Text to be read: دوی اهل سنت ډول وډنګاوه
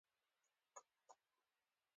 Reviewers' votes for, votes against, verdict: 0, 2, rejected